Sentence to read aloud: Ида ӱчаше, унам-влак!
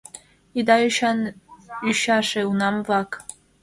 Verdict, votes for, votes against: rejected, 1, 2